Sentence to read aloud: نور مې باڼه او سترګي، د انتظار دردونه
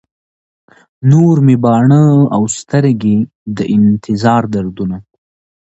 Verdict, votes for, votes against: accepted, 2, 0